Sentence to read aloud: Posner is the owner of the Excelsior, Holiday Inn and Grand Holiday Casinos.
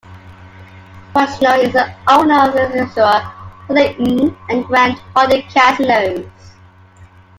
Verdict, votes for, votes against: rejected, 0, 2